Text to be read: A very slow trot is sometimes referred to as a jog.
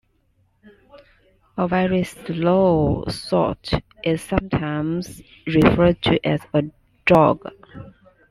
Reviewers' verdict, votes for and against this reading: rejected, 0, 2